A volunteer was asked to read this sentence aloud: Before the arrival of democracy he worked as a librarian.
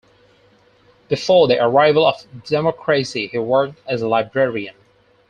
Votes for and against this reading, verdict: 4, 0, accepted